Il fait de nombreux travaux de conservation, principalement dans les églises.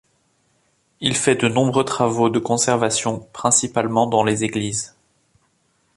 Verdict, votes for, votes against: accepted, 2, 0